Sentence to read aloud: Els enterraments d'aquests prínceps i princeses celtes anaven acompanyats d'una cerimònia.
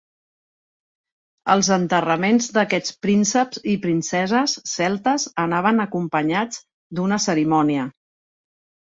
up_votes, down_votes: 3, 0